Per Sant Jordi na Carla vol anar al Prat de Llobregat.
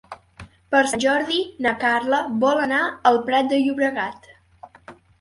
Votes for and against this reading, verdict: 1, 2, rejected